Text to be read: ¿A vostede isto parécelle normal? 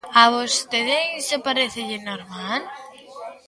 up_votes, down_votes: 0, 2